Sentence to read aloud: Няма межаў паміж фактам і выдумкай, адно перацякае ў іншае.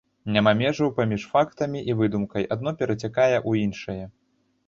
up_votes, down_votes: 0, 2